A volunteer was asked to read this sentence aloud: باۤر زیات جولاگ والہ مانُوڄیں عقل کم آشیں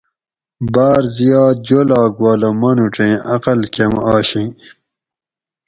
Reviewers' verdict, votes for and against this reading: accepted, 4, 0